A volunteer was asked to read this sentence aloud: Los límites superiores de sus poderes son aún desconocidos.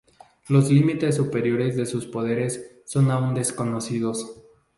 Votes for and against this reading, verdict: 2, 0, accepted